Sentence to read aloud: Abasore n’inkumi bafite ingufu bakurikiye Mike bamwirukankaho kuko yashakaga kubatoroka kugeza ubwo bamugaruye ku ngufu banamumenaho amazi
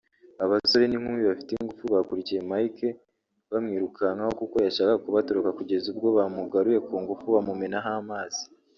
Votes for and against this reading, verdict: 0, 2, rejected